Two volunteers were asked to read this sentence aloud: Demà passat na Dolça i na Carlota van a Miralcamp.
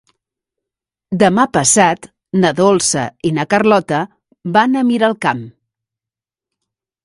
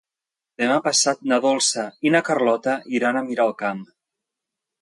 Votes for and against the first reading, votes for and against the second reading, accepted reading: 4, 0, 0, 2, first